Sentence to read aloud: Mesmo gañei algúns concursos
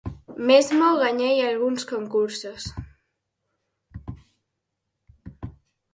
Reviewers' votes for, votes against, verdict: 4, 0, accepted